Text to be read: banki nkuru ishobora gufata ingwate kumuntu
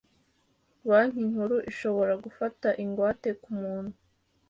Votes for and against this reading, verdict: 2, 1, accepted